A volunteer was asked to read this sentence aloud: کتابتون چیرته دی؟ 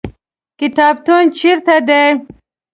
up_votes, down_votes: 2, 0